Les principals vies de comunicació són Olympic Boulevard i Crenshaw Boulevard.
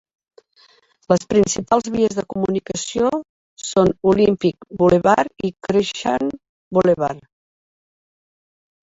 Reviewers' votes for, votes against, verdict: 0, 2, rejected